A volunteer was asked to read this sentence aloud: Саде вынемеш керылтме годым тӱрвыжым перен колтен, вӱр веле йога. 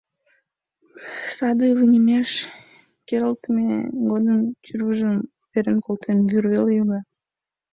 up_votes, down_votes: 1, 2